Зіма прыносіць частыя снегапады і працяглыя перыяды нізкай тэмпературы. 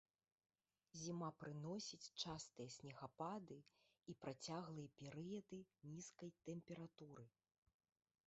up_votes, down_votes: 1, 2